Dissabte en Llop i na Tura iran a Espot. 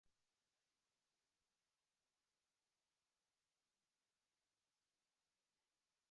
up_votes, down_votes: 0, 2